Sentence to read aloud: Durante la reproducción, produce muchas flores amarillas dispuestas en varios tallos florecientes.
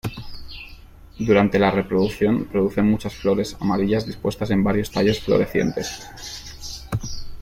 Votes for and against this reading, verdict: 2, 1, accepted